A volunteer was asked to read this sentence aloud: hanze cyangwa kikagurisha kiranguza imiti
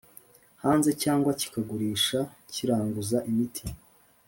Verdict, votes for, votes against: accepted, 2, 0